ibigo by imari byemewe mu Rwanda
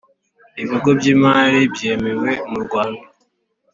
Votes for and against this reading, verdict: 2, 0, accepted